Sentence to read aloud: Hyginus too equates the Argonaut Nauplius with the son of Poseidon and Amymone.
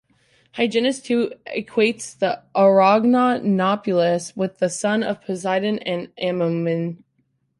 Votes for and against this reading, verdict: 0, 2, rejected